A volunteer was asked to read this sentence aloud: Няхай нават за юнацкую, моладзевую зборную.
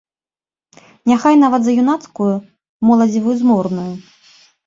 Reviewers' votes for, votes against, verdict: 1, 2, rejected